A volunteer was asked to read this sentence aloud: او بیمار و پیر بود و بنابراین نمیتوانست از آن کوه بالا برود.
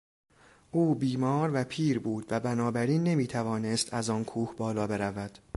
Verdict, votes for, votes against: accepted, 2, 0